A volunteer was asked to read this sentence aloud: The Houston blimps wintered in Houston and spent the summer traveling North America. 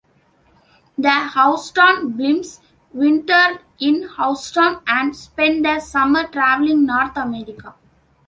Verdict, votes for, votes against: rejected, 1, 2